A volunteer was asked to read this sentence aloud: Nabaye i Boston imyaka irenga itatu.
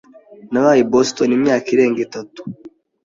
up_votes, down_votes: 2, 0